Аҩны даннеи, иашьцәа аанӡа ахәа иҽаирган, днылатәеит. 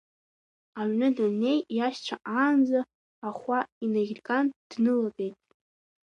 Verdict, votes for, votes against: accepted, 2, 0